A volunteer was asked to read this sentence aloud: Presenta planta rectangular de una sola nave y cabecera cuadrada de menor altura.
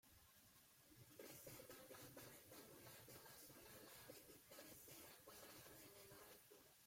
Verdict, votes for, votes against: rejected, 0, 2